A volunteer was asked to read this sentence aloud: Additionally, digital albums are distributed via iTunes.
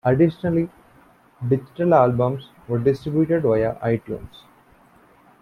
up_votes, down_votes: 2, 1